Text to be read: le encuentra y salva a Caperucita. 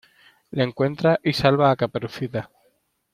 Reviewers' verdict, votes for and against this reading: accepted, 2, 0